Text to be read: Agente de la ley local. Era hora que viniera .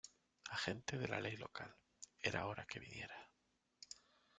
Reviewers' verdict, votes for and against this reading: rejected, 1, 2